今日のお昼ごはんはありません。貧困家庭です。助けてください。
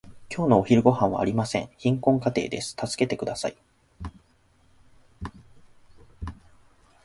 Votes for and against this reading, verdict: 2, 1, accepted